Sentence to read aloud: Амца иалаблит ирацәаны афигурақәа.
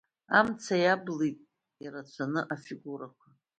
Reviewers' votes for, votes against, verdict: 2, 1, accepted